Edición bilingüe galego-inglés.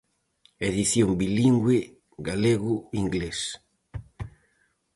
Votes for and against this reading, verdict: 4, 0, accepted